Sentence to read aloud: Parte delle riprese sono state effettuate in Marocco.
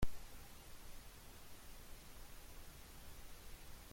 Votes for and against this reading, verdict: 0, 2, rejected